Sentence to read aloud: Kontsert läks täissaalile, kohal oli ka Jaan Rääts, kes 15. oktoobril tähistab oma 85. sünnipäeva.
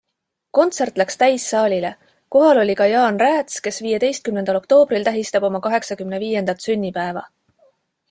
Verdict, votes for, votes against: rejected, 0, 2